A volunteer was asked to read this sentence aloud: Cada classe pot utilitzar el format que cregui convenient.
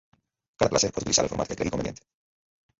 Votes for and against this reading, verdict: 0, 2, rejected